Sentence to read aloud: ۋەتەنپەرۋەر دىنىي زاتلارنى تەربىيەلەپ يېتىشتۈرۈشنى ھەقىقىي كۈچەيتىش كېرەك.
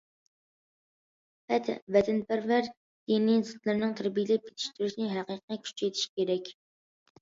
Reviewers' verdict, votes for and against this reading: rejected, 0, 2